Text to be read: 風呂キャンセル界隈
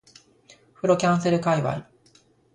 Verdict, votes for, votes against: accepted, 2, 1